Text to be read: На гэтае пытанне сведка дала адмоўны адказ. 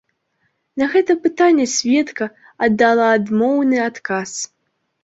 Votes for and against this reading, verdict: 1, 2, rejected